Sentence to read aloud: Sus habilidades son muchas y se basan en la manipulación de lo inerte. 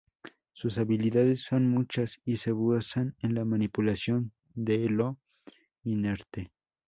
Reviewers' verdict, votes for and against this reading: rejected, 0, 2